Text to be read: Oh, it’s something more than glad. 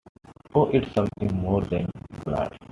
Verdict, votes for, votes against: accepted, 2, 1